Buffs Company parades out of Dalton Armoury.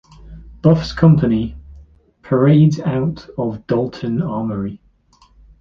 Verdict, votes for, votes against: rejected, 1, 2